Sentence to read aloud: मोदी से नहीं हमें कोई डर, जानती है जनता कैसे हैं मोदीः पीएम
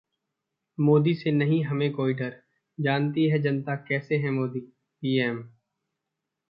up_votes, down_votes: 2, 0